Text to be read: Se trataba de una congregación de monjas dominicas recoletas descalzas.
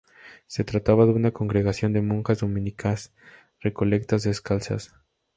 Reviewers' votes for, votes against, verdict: 2, 2, rejected